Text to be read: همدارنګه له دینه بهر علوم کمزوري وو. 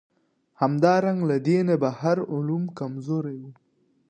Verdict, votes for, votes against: accepted, 2, 0